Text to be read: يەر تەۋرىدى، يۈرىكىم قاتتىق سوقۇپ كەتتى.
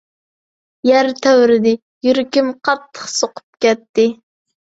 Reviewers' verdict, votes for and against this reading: accepted, 2, 0